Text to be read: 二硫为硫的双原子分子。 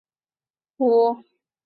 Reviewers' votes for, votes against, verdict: 0, 3, rejected